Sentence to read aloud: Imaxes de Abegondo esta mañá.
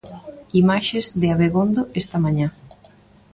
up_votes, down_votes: 2, 0